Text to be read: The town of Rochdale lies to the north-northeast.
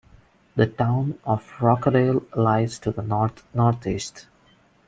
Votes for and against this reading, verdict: 1, 2, rejected